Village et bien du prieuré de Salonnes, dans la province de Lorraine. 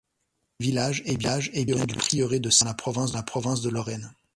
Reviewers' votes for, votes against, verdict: 0, 2, rejected